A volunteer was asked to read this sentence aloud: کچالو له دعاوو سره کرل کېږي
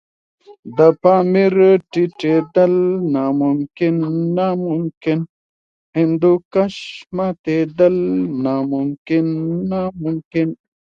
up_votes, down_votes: 1, 2